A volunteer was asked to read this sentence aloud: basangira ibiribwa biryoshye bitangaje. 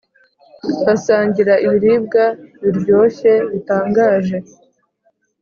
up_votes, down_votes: 2, 0